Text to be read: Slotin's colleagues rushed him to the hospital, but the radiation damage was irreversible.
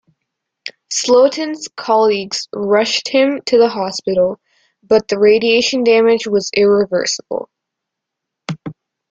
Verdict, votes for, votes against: accepted, 2, 0